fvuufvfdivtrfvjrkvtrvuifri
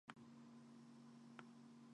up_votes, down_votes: 0, 2